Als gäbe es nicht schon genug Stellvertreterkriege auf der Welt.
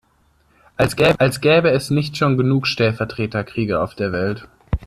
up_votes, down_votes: 0, 2